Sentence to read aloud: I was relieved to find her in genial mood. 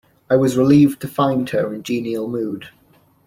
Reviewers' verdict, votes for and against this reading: accepted, 2, 0